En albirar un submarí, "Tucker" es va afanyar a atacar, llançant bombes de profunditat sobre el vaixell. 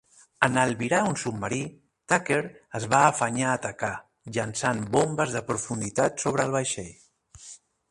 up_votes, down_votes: 2, 0